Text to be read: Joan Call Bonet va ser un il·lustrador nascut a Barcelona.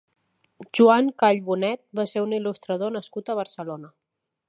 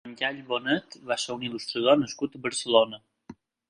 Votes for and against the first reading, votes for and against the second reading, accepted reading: 2, 0, 0, 6, first